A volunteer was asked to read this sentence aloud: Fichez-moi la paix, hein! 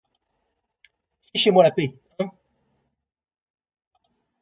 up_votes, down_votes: 0, 2